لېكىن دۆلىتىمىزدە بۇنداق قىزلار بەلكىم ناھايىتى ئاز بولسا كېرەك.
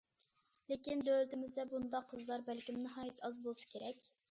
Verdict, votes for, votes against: accepted, 2, 0